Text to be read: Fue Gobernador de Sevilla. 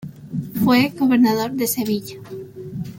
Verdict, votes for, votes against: accepted, 2, 0